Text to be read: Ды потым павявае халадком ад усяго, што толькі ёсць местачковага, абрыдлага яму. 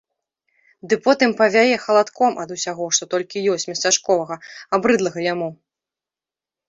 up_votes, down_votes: 0, 2